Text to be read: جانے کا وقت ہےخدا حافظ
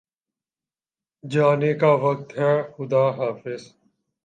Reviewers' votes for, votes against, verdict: 3, 0, accepted